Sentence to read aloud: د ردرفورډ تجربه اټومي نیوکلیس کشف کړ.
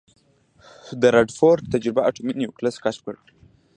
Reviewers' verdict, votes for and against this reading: accepted, 2, 0